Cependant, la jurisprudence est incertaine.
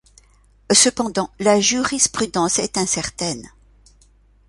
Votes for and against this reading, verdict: 2, 0, accepted